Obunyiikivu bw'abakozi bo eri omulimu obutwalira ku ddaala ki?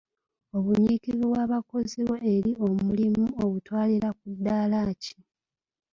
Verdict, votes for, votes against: accepted, 2, 0